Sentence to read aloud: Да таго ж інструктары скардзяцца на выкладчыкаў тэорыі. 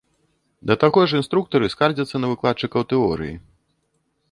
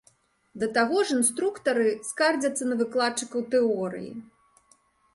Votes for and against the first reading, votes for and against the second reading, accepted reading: 0, 2, 2, 0, second